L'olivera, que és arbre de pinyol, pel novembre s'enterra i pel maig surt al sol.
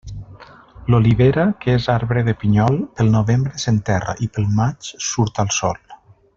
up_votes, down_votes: 1, 2